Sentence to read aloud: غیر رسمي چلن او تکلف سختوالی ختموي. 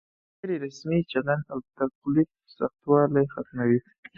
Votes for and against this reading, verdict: 4, 0, accepted